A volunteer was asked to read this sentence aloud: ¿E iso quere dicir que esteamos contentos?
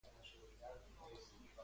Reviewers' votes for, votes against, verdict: 0, 3, rejected